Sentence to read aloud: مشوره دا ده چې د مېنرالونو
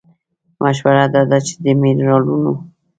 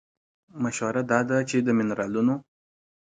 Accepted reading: second